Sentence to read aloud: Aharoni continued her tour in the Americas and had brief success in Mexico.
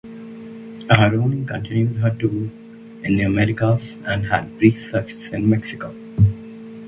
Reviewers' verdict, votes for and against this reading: rejected, 2, 4